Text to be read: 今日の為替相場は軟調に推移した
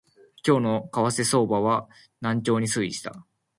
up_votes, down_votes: 2, 0